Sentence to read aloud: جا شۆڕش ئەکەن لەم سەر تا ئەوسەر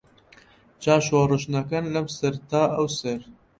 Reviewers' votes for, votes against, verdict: 0, 2, rejected